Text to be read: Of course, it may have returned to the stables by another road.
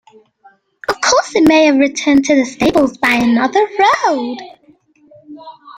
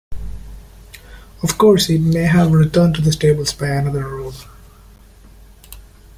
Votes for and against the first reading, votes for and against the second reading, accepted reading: 1, 2, 2, 0, second